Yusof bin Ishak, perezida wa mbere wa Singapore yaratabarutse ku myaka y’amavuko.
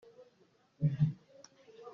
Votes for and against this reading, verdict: 0, 2, rejected